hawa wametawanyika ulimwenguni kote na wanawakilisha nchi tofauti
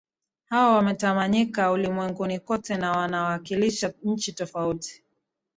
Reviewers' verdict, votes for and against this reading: accepted, 8, 0